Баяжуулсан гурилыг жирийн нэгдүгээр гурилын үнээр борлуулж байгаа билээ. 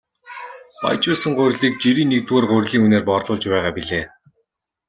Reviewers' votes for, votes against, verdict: 1, 2, rejected